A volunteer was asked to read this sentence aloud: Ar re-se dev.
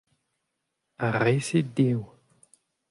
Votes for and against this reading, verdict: 2, 0, accepted